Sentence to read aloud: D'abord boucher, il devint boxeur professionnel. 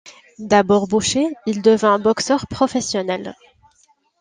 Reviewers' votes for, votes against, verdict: 2, 0, accepted